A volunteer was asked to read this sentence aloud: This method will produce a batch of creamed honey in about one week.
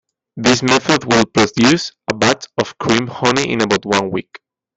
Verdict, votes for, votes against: rejected, 1, 2